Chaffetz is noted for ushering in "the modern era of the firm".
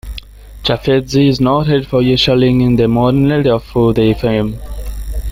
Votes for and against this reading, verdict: 0, 2, rejected